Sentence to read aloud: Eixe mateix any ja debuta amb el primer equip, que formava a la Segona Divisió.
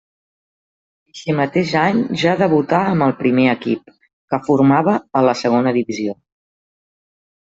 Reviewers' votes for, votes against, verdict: 0, 2, rejected